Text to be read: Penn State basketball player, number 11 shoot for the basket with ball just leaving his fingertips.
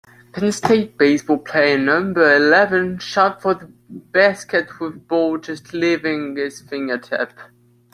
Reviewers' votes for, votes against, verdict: 0, 2, rejected